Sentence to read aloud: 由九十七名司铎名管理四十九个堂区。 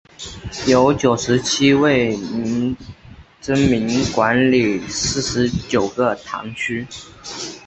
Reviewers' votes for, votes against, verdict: 2, 5, rejected